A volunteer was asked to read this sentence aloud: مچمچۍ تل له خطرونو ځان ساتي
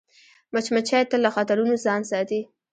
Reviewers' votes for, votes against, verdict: 1, 2, rejected